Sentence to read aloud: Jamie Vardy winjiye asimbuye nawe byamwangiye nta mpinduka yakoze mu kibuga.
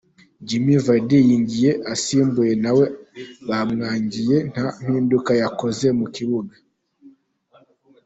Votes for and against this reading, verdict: 0, 2, rejected